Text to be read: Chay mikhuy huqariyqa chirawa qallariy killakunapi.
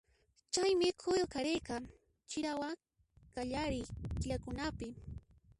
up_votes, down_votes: 0, 2